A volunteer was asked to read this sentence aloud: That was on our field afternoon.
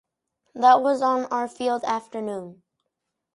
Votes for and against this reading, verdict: 4, 0, accepted